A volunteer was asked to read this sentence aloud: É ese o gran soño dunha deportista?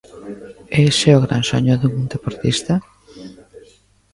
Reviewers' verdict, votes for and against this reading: rejected, 1, 2